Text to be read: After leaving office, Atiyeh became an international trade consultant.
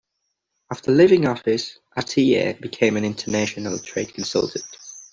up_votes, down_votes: 2, 0